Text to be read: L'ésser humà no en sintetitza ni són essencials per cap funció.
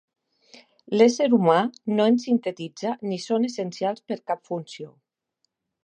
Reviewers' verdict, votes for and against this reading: accepted, 2, 0